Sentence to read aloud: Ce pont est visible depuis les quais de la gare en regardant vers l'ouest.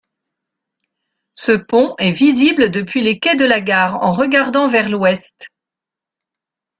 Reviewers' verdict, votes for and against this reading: rejected, 1, 2